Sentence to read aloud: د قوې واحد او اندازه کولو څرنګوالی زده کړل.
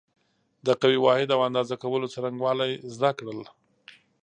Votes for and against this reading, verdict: 2, 0, accepted